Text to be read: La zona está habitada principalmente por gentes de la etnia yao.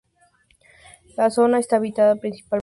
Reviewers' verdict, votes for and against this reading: rejected, 0, 2